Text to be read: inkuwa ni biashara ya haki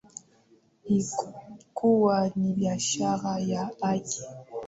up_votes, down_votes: 2, 1